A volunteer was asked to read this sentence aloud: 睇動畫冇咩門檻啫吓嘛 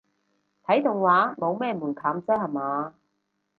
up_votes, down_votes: 2, 0